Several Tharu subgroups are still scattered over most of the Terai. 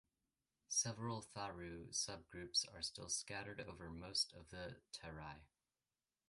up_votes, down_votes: 2, 0